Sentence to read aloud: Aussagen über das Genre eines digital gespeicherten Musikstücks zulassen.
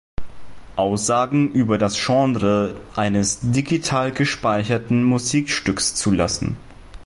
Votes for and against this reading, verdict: 2, 0, accepted